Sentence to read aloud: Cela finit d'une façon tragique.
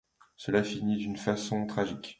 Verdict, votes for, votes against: accepted, 2, 0